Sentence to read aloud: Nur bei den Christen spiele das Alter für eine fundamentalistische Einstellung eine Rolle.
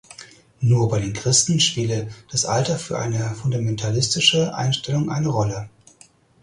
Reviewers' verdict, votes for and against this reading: accepted, 4, 0